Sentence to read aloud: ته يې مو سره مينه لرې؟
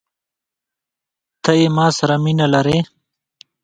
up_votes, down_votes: 1, 2